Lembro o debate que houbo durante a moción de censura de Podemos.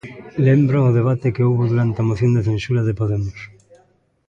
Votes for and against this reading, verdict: 0, 2, rejected